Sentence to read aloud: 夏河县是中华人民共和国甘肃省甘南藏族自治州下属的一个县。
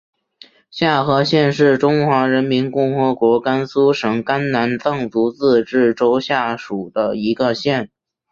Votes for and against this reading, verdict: 6, 0, accepted